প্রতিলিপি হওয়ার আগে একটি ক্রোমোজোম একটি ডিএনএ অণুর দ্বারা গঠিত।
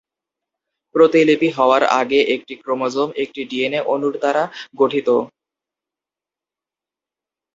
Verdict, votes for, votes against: accepted, 2, 0